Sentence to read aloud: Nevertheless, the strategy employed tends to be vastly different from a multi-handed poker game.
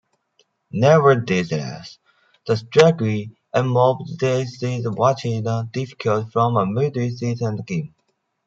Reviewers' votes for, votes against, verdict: 0, 2, rejected